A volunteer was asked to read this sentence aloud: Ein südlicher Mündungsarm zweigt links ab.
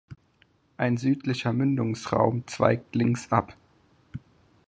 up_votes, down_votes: 0, 4